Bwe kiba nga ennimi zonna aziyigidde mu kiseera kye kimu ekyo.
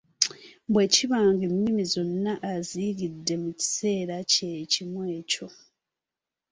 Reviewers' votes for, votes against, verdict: 2, 0, accepted